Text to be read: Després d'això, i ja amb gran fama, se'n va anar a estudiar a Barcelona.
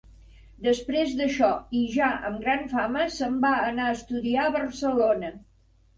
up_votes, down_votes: 4, 0